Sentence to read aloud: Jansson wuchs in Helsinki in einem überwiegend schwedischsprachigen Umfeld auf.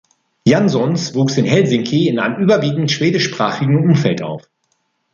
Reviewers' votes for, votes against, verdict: 0, 2, rejected